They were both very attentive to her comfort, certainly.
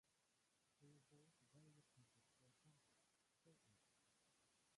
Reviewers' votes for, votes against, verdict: 0, 2, rejected